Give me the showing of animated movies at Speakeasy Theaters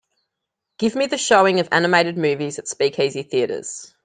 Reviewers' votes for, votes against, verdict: 2, 0, accepted